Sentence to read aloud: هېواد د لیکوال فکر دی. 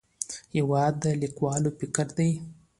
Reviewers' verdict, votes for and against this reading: accepted, 2, 0